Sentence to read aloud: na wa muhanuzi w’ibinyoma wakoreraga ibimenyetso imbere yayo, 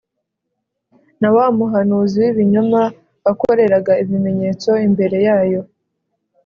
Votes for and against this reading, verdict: 4, 0, accepted